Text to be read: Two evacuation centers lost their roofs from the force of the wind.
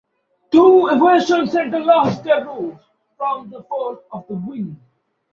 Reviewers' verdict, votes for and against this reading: rejected, 1, 2